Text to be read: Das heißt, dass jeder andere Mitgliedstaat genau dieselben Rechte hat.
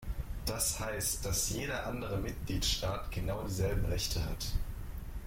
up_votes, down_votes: 1, 2